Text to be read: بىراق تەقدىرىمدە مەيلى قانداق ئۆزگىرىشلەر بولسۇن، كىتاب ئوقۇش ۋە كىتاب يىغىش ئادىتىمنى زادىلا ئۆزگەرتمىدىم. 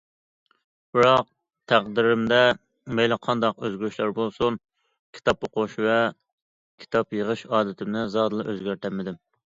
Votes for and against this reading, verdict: 0, 2, rejected